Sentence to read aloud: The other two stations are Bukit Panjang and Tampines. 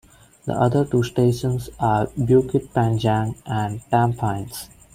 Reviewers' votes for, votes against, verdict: 2, 0, accepted